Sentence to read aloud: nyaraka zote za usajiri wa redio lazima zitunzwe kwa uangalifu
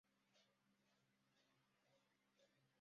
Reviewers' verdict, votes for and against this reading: rejected, 0, 2